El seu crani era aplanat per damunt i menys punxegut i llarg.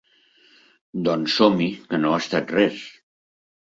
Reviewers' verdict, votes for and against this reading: rejected, 1, 2